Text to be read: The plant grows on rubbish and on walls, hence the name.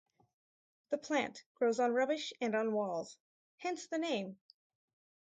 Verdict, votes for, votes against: accepted, 4, 0